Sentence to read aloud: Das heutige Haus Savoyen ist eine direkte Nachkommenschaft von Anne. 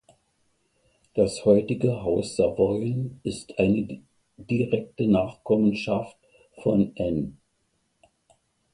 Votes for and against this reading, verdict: 2, 1, accepted